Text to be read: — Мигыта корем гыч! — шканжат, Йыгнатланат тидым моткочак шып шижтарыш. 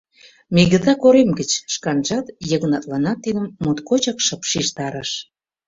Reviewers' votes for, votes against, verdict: 2, 0, accepted